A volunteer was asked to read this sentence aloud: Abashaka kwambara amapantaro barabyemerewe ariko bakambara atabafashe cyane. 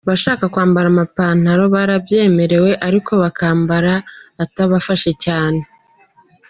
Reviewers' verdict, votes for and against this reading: accepted, 2, 1